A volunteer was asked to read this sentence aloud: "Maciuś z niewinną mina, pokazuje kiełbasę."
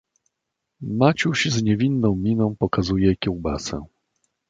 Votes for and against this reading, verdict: 2, 0, accepted